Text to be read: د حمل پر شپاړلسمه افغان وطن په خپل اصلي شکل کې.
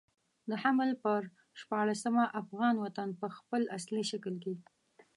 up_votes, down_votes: 2, 1